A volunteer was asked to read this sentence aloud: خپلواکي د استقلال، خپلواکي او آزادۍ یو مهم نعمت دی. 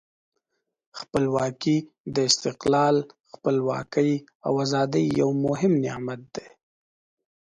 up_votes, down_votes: 2, 0